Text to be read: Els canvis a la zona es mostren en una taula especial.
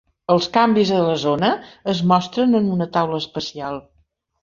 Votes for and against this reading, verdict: 2, 0, accepted